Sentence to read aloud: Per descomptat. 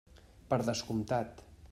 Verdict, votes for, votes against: accepted, 3, 0